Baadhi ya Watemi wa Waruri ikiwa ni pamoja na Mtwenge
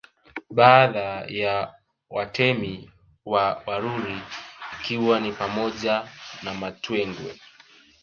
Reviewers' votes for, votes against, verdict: 2, 1, accepted